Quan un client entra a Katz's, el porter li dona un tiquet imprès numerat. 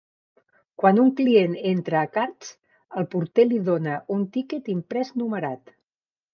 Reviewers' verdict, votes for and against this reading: rejected, 1, 2